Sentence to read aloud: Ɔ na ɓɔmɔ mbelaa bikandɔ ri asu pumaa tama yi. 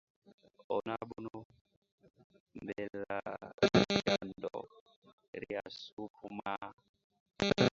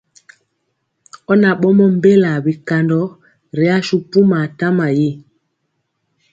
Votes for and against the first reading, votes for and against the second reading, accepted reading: 0, 2, 3, 0, second